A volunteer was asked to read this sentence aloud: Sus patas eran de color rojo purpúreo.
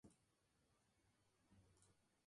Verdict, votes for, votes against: rejected, 0, 2